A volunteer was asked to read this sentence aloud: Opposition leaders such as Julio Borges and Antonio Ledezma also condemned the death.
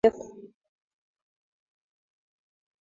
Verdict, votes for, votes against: rejected, 0, 4